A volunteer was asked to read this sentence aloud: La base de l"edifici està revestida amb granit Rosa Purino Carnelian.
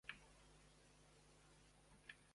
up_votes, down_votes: 0, 2